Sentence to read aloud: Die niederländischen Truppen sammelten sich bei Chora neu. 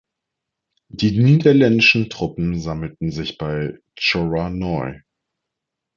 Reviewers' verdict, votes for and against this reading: rejected, 1, 2